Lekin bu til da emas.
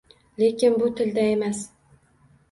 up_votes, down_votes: 2, 0